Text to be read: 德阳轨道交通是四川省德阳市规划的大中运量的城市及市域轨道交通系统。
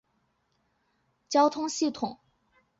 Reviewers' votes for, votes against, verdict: 0, 3, rejected